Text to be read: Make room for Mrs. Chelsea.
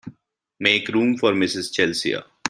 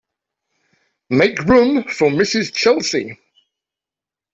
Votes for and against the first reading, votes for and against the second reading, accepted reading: 2, 4, 2, 0, second